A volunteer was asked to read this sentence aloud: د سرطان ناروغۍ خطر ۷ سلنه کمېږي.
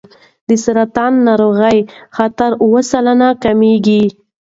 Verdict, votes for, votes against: rejected, 0, 2